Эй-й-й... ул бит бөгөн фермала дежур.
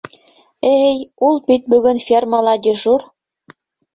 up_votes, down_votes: 1, 2